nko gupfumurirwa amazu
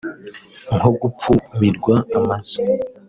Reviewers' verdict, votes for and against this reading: rejected, 1, 2